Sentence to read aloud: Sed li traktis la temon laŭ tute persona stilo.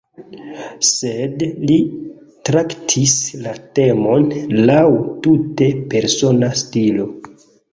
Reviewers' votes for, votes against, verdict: 1, 2, rejected